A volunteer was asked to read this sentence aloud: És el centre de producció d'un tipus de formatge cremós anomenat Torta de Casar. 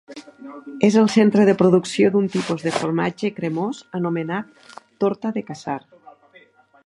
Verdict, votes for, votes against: accepted, 2, 0